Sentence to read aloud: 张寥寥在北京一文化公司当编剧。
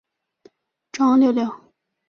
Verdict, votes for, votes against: rejected, 0, 2